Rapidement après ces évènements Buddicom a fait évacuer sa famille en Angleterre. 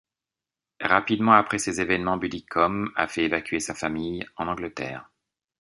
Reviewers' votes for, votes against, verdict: 2, 0, accepted